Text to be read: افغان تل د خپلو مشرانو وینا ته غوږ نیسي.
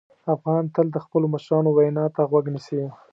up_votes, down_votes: 2, 0